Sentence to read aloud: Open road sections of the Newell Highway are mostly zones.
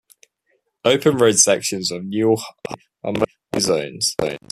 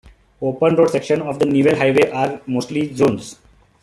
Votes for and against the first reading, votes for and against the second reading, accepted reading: 0, 2, 2, 0, second